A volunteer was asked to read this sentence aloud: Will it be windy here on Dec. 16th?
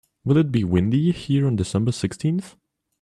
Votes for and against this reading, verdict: 0, 2, rejected